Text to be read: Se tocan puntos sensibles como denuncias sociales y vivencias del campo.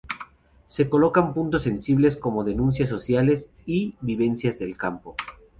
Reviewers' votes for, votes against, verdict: 2, 2, rejected